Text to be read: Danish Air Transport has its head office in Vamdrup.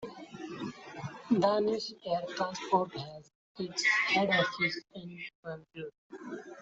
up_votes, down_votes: 0, 2